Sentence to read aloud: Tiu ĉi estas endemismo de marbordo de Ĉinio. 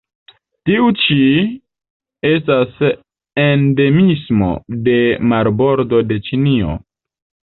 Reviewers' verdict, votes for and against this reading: rejected, 1, 2